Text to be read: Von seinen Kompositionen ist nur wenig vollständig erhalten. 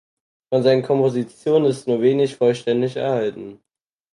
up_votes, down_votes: 4, 0